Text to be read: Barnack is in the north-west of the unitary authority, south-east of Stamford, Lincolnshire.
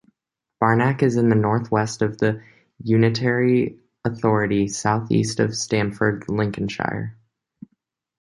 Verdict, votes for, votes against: accepted, 2, 0